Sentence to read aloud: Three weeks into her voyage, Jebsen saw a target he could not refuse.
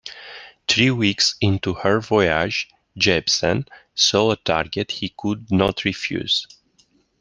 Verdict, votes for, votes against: accepted, 2, 1